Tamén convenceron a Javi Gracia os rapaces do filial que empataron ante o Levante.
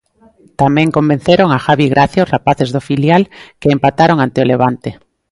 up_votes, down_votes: 2, 0